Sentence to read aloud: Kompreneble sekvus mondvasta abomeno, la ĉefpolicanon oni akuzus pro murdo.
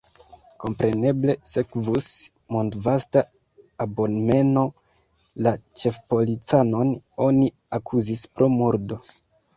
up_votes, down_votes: 3, 1